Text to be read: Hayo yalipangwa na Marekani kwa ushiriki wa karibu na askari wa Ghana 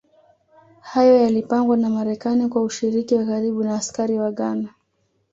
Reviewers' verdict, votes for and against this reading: accepted, 2, 0